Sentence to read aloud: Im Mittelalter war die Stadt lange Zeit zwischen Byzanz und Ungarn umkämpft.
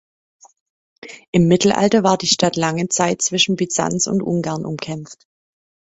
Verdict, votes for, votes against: accepted, 2, 0